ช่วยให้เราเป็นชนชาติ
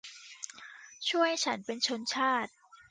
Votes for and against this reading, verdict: 0, 2, rejected